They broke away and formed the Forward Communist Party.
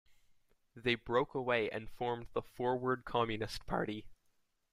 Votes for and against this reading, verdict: 2, 0, accepted